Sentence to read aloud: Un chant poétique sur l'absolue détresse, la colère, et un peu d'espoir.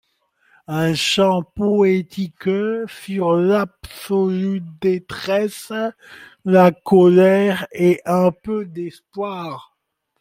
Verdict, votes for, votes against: accepted, 2, 0